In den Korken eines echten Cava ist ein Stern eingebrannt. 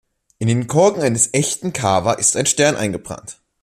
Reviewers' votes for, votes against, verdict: 2, 0, accepted